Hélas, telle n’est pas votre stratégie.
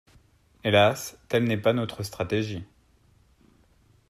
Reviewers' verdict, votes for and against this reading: rejected, 1, 2